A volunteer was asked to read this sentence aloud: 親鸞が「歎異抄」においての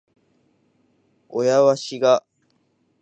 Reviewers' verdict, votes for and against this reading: rejected, 0, 2